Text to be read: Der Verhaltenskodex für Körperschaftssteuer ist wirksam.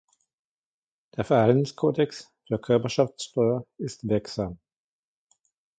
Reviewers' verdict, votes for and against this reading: accepted, 2, 1